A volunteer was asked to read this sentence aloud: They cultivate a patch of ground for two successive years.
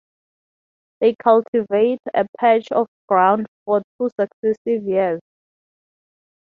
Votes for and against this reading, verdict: 3, 0, accepted